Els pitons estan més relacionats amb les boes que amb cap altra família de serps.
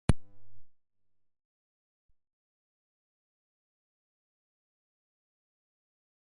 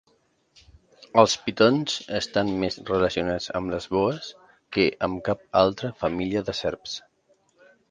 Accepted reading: second